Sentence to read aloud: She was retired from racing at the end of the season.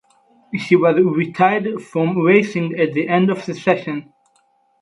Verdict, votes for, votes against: rejected, 0, 6